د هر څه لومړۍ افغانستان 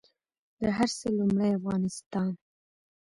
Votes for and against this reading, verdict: 1, 2, rejected